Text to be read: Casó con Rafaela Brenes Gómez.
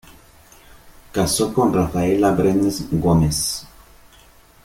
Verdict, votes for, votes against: accepted, 2, 0